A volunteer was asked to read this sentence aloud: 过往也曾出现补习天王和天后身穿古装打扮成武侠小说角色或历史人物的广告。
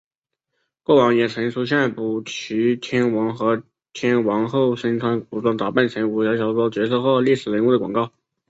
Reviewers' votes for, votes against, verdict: 2, 0, accepted